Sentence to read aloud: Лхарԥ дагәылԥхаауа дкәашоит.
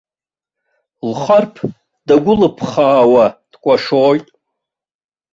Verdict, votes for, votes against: accepted, 2, 0